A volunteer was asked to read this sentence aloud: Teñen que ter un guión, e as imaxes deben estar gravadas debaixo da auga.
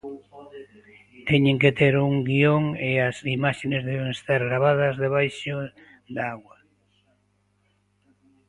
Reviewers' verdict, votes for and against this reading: rejected, 1, 2